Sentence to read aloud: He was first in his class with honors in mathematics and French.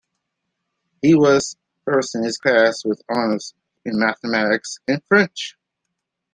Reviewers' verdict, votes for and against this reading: accepted, 2, 0